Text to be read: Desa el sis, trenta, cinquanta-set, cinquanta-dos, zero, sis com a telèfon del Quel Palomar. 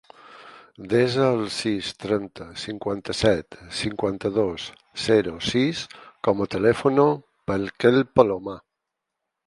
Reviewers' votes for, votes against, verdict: 2, 4, rejected